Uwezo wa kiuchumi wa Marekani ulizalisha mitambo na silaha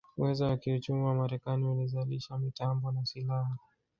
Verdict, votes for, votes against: accepted, 2, 1